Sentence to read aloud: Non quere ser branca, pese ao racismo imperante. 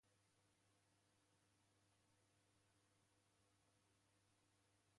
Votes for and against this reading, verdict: 0, 2, rejected